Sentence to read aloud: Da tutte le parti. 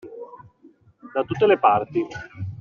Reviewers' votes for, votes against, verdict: 2, 1, accepted